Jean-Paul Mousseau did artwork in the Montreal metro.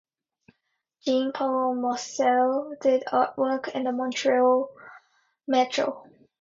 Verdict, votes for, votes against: rejected, 0, 2